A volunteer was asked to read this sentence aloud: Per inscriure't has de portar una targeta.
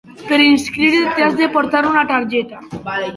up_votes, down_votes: 2, 0